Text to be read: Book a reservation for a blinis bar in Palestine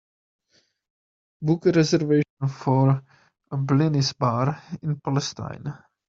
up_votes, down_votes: 2, 0